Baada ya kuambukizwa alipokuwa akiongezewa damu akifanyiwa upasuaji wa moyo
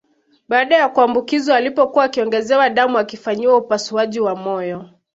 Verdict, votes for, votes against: accepted, 2, 0